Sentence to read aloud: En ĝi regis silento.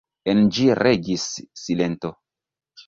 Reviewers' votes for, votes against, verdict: 1, 2, rejected